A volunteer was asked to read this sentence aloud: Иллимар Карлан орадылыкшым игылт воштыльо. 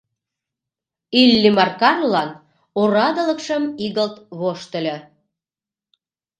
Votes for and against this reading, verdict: 2, 0, accepted